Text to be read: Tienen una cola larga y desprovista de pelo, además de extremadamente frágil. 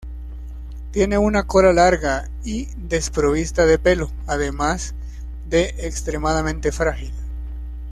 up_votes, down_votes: 0, 2